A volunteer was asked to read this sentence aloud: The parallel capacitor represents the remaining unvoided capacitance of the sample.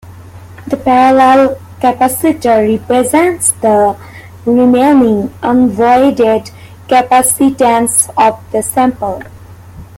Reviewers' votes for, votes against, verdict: 1, 2, rejected